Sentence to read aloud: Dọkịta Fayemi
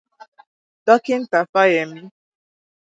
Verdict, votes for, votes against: accepted, 2, 0